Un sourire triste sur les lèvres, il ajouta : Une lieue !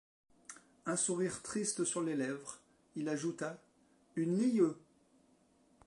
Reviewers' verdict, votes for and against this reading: rejected, 0, 2